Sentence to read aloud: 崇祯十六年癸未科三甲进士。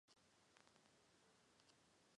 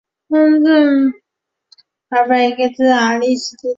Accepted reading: second